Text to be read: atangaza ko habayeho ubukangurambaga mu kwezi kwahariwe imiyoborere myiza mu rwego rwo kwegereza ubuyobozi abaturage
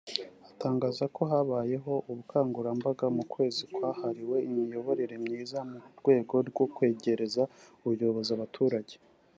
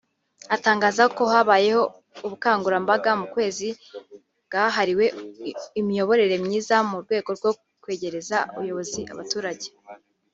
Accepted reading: first